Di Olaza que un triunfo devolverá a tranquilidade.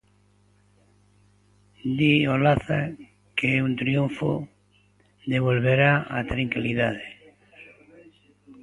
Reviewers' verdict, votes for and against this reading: accepted, 2, 1